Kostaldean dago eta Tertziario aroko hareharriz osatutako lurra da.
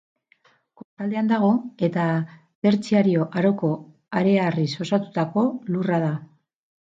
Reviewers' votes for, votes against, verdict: 2, 4, rejected